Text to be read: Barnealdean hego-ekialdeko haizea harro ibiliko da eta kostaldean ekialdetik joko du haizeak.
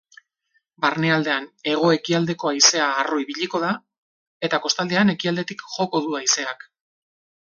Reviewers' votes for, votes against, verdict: 4, 0, accepted